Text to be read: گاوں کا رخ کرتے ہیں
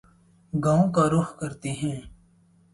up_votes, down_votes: 2, 2